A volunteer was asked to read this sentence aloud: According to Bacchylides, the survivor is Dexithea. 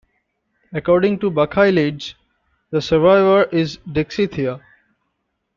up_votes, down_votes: 1, 2